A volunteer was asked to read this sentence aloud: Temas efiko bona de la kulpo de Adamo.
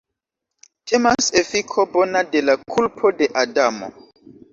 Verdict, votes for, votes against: accepted, 2, 0